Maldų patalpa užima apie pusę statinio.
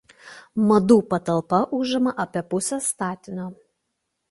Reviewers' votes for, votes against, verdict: 0, 2, rejected